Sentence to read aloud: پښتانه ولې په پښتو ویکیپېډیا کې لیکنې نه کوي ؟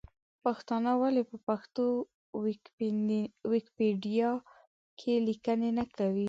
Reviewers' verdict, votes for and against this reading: rejected, 0, 2